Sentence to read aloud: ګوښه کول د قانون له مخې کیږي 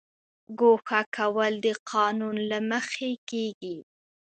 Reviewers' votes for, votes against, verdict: 2, 0, accepted